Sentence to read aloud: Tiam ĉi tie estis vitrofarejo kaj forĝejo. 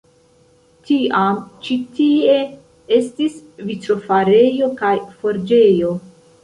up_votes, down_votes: 2, 1